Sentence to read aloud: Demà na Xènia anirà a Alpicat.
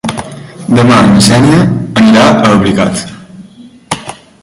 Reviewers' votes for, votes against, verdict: 0, 2, rejected